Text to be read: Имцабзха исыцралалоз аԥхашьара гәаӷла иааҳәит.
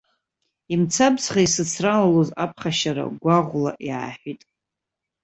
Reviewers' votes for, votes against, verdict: 0, 2, rejected